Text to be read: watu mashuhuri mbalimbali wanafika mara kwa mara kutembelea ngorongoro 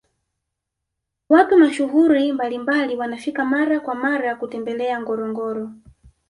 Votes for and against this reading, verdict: 1, 2, rejected